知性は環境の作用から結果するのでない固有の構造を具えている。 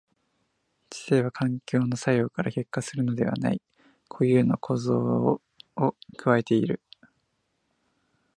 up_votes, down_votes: 0, 2